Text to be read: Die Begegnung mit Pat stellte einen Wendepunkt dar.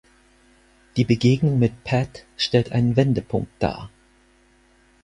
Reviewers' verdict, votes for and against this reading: rejected, 2, 4